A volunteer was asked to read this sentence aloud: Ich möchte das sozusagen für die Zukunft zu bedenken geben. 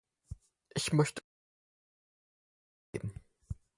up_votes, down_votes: 0, 4